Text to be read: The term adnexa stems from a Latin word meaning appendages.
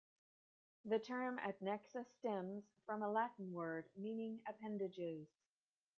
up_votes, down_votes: 2, 1